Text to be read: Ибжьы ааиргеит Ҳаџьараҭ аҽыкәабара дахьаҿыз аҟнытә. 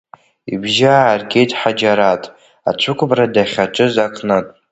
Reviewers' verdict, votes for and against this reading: accepted, 2, 1